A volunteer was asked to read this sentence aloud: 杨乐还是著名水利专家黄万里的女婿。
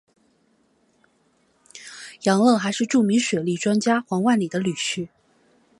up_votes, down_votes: 1, 2